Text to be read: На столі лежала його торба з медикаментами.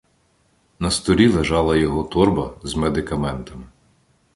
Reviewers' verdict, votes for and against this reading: accepted, 2, 0